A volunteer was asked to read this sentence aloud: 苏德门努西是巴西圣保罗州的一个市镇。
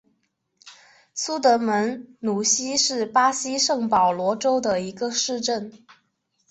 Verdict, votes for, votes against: accepted, 2, 0